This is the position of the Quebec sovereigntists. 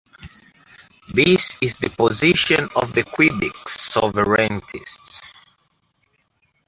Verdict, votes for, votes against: accepted, 2, 0